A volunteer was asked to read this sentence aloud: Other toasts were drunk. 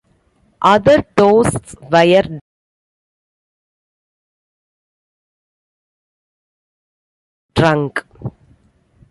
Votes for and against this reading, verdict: 1, 2, rejected